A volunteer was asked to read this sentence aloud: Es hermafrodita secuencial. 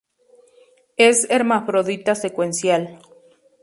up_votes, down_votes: 4, 0